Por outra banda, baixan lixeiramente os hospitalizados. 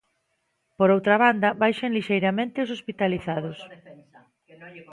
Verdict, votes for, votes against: accepted, 2, 1